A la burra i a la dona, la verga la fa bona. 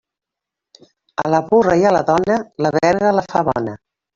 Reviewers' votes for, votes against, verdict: 1, 2, rejected